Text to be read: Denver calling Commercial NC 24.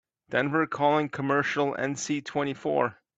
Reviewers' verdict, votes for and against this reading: rejected, 0, 2